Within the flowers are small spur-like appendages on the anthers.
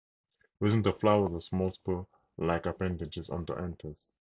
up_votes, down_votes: 4, 2